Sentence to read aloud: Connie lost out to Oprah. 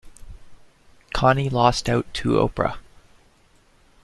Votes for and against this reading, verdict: 2, 0, accepted